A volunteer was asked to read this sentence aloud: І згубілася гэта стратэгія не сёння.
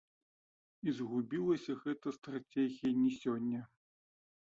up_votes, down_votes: 1, 2